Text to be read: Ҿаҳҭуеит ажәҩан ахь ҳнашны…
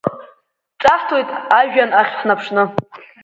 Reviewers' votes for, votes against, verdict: 3, 4, rejected